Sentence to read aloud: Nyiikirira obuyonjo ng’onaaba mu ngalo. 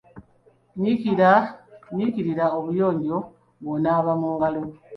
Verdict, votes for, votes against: accepted, 2, 1